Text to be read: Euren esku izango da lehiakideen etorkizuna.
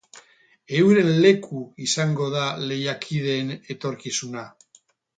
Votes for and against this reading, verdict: 0, 4, rejected